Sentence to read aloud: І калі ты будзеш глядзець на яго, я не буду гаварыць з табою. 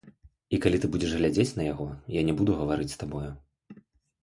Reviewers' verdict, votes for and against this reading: accepted, 2, 0